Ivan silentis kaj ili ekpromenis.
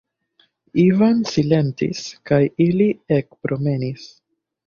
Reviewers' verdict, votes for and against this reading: accepted, 2, 0